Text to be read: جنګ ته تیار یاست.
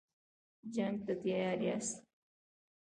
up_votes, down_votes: 3, 0